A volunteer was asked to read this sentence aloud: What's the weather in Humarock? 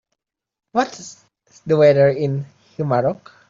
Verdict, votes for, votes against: accepted, 3, 0